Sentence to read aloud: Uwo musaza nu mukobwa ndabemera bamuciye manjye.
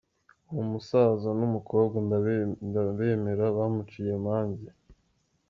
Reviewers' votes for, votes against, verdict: 2, 3, rejected